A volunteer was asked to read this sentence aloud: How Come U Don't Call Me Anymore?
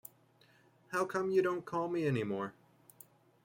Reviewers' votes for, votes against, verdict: 2, 0, accepted